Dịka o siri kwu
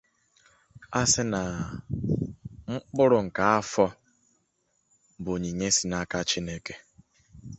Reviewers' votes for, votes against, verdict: 0, 2, rejected